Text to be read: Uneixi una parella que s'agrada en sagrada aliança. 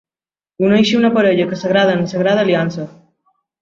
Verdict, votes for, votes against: accepted, 3, 0